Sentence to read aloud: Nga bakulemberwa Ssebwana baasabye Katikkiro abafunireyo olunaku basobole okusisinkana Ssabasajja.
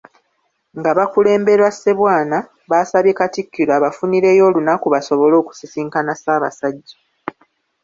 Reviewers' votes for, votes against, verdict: 2, 0, accepted